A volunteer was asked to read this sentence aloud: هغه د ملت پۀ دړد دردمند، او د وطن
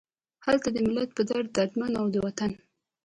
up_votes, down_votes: 2, 0